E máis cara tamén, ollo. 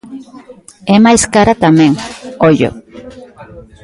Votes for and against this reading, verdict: 0, 2, rejected